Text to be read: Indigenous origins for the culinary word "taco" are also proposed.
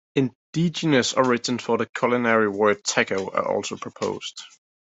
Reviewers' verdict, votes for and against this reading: accepted, 2, 0